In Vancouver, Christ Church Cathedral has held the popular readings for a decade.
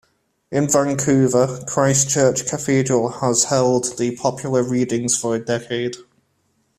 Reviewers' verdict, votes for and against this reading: accepted, 2, 0